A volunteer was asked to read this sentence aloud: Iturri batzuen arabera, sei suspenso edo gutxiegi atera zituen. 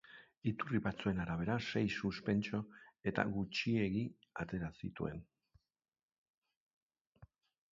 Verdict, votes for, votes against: accepted, 2, 0